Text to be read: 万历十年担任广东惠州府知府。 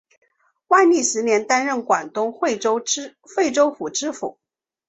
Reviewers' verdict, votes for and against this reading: accepted, 2, 0